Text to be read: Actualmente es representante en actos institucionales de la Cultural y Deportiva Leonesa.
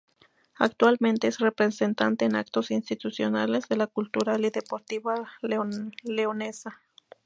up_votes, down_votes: 4, 0